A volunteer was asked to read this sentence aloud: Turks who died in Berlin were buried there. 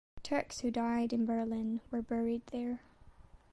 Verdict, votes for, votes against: accepted, 2, 0